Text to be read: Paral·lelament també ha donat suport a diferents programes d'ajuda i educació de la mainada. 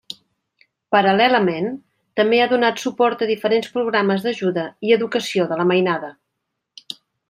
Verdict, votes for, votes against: accepted, 3, 0